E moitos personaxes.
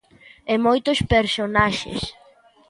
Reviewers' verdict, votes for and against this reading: accepted, 2, 0